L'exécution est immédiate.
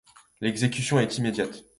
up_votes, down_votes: 2, 0